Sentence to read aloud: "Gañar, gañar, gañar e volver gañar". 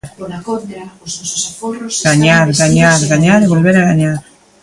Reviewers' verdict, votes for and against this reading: rejected, 1, 2